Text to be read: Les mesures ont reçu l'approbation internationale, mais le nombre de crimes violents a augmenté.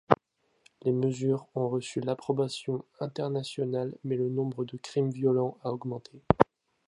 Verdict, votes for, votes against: accepted, 2, 0